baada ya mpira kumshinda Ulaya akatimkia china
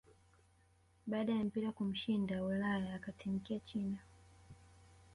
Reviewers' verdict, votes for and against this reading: rejected, 1, 2